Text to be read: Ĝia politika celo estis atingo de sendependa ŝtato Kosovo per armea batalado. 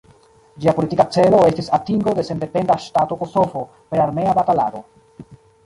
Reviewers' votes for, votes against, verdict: 0, 2, rejected